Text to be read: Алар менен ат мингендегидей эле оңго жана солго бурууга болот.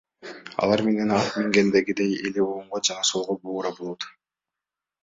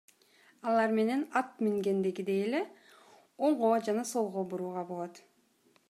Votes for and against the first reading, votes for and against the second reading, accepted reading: 1, 2, 2, 0, second